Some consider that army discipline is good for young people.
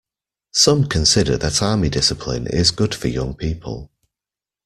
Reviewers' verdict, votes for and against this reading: accepted, 2, 0